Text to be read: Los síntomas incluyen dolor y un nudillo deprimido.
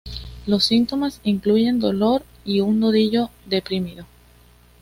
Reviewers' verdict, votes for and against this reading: accepted, 2, 0